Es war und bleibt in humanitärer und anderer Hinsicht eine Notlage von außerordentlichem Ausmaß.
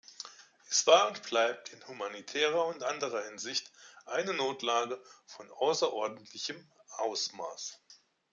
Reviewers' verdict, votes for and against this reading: accepted, 2, 0